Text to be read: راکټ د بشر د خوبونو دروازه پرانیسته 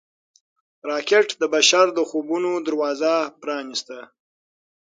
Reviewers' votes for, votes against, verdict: 6, 0, accepted